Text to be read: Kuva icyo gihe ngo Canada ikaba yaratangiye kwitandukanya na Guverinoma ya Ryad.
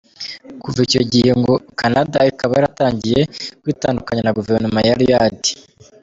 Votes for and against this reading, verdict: 2, 1, accepted